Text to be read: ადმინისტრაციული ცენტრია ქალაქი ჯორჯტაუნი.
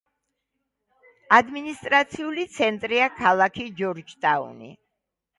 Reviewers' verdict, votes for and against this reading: rejected, 1, 2